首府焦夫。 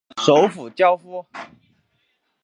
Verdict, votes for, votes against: accepted, 2, 0